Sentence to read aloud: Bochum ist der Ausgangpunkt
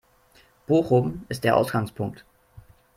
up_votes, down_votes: 0, 2